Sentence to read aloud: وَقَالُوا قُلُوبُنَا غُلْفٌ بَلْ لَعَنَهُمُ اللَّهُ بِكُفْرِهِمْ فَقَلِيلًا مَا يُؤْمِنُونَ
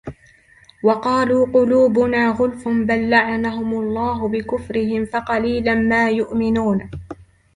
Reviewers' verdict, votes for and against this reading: accepted, 2, 0